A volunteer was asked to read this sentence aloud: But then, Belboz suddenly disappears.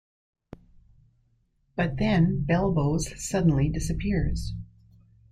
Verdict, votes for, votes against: accepted, 2, 0